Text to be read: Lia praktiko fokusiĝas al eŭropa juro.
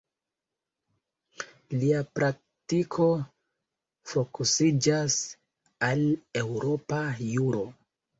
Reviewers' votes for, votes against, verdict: 1, 2, rejected